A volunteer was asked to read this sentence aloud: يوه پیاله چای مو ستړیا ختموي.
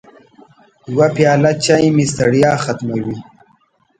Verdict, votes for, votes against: rejected, 0, 2